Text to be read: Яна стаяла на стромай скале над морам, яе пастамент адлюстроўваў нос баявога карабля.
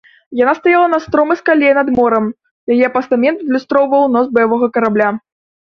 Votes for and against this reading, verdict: 2, 0, accepted